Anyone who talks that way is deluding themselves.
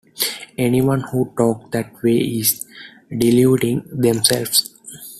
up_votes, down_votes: 1, 2